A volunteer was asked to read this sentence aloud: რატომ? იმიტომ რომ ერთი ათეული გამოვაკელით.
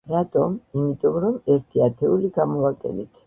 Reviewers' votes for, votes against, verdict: 0, 2, rejected